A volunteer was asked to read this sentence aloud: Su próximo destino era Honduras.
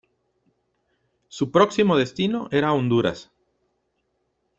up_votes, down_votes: 2, 0